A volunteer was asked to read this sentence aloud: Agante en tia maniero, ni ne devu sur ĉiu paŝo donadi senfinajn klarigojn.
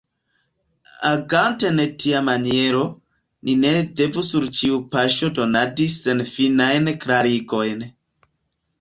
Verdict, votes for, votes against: accepted, 2, 1